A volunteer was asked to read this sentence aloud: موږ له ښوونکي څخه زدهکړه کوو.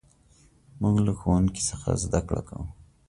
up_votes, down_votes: 2, 0